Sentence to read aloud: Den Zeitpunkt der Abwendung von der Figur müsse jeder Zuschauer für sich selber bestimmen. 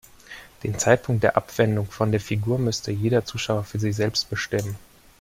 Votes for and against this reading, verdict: 1, 2, rejected